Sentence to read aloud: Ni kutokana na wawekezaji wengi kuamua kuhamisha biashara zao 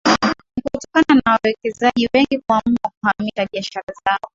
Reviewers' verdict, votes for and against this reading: rejected, 0, 2